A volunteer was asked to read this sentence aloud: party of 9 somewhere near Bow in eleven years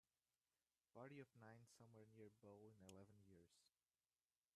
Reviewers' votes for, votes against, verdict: 0, 2, rejected